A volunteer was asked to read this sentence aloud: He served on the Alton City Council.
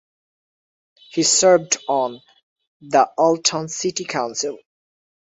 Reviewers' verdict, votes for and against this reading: accepted, 2, 0